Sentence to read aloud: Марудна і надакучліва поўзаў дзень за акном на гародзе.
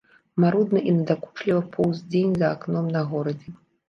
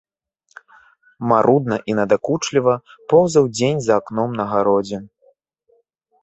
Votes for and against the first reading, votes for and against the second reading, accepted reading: 1, 3, 2, 0, second